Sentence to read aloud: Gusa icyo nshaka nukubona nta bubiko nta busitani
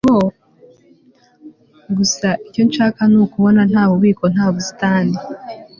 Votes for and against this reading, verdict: 3, 0, accepted